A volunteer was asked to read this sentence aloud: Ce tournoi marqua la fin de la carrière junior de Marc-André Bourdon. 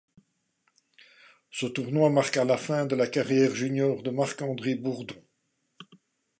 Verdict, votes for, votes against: accepted, 2, 0